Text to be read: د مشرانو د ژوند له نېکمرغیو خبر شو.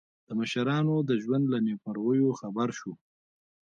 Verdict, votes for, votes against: rejected, 0, 2